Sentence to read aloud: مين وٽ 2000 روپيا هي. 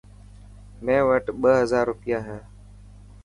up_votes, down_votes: 0, 2